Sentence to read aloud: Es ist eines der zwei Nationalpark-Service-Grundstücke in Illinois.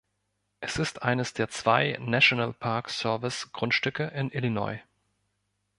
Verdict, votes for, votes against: rejected, 0, 2